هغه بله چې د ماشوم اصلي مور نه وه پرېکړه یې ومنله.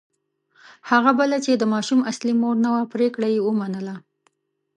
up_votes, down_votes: 2, 0